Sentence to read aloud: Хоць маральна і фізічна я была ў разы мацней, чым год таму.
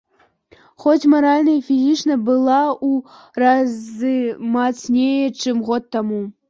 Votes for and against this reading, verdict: 2, 1, accepted